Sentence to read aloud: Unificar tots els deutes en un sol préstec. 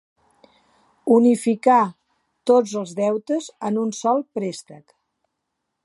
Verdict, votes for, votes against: accepted, 2, 0